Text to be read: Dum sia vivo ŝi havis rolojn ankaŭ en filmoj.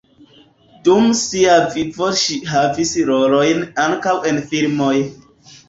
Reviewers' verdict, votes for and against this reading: rejected, 0, 2